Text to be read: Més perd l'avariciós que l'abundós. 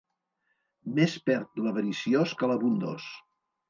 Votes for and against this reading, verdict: 2, 0, accepted